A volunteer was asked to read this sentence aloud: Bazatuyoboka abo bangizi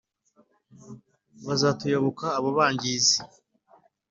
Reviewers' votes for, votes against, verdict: 3, 0, accepted